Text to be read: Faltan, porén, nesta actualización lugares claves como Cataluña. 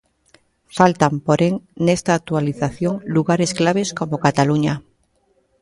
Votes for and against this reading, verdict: 2, 0, accepted